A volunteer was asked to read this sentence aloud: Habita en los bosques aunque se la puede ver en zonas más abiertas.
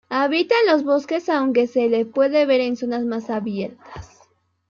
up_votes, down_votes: 0, 2